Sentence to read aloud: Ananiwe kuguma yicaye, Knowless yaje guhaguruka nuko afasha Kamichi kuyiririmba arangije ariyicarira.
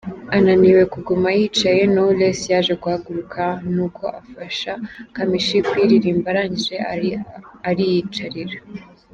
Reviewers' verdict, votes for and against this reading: rejected, 0, 4